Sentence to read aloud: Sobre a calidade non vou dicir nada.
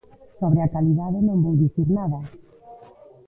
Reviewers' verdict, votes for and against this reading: accepted, 2, 1